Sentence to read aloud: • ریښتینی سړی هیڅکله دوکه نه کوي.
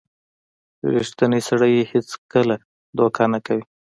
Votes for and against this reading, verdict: 1, 2, rejected